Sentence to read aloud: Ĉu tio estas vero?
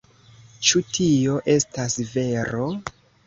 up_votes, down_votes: 2, 0